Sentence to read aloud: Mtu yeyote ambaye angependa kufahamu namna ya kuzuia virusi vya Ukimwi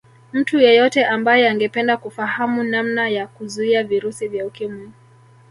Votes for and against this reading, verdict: 0, 2, rejected